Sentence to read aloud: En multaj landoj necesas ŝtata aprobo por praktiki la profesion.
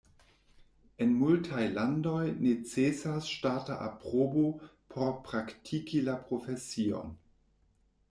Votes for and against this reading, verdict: 2, 1, accepted